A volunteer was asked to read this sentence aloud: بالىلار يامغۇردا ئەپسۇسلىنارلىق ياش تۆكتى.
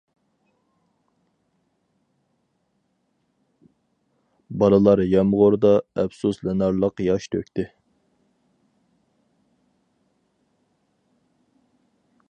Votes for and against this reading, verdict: 4, 0, accepted